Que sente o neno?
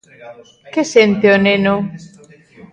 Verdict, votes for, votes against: rejected, 1, 2